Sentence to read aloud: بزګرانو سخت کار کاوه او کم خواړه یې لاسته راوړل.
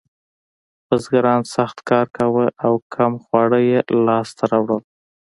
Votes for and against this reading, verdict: 2, 0, accepted